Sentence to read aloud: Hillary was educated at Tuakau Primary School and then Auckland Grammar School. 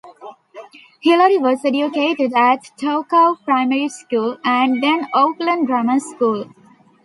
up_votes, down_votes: 2, 1